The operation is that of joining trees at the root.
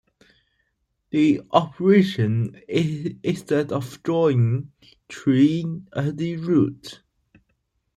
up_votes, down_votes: 0, 2